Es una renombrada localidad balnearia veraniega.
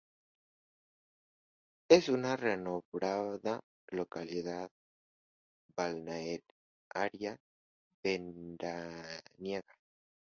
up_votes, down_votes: 0, 2